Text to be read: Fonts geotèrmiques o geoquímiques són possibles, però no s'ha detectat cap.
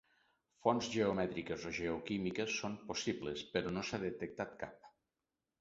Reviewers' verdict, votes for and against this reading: rejected, 1, 2